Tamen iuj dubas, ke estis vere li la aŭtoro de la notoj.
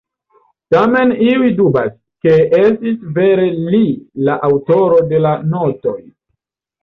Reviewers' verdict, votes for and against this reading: rejected, 1, 2